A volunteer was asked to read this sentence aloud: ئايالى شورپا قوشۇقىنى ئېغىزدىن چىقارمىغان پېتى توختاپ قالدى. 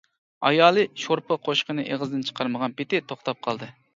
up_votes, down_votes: 2, 0